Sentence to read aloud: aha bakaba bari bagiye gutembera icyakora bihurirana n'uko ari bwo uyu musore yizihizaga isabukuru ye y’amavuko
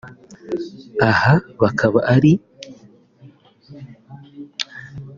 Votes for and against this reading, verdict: 0, 3, rejected